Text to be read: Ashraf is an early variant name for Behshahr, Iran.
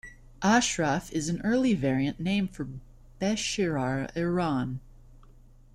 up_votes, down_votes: 1, 2